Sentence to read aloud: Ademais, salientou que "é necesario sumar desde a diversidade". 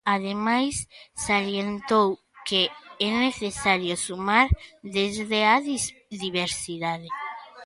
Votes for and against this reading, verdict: 0, 2, rejected